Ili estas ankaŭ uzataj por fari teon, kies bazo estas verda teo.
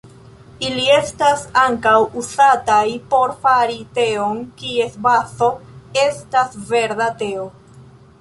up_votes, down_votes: 1, 2